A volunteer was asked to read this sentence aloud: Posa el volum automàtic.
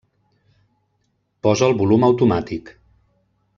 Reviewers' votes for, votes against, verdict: 1, 2, rejected